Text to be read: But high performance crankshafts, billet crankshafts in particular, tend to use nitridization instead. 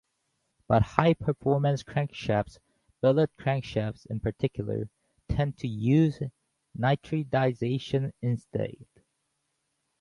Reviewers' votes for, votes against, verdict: 0, 2, rejected